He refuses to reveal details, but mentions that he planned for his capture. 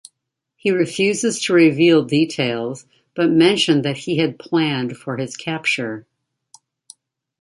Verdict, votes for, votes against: accepted, 2, 0